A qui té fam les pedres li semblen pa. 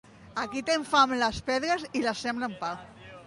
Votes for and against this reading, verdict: 1, 2, rejected